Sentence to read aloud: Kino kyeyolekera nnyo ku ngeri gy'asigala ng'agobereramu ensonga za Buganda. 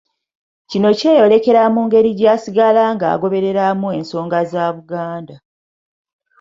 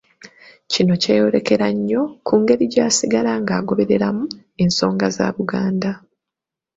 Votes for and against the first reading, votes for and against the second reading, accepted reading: 0, 2, 2, 0, second